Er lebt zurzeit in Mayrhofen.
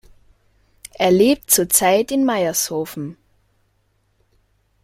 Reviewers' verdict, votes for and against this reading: rejected, 0, 2